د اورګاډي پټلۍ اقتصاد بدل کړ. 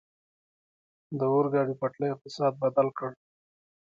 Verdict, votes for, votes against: accepted, 2, 1